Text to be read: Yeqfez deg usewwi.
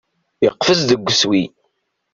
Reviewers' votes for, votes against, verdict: 1, 2, rejected